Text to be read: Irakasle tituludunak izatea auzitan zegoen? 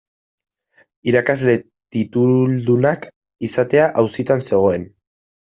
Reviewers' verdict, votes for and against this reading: rejected, 0, 2